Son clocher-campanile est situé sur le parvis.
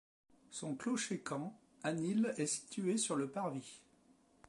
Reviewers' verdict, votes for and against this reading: rejected, 0, 2